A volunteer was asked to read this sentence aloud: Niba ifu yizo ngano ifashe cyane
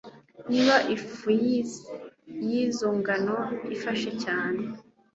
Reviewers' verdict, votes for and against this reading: accepted, 2, 0